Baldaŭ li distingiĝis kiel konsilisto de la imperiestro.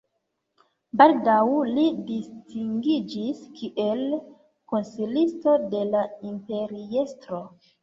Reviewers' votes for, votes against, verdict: 3, 2, accepted